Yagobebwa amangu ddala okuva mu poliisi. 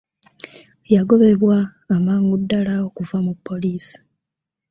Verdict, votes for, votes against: accepted, 2, 0